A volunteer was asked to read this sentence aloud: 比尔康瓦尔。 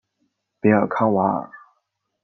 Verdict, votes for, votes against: accepted, 2, 0